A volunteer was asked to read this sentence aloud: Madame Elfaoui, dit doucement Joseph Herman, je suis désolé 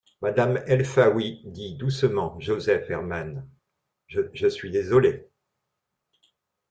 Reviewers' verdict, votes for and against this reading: rejected, 0, 2